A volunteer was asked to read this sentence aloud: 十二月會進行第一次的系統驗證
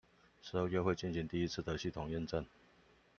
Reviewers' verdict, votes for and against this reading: accepted, 2, 1